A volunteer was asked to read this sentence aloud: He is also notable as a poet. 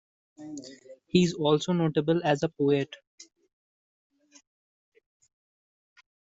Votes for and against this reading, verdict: 2, 0, accepted